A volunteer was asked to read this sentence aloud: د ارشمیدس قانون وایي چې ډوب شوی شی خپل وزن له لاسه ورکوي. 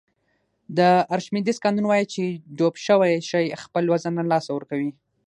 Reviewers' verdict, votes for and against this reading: accepted, 6, 0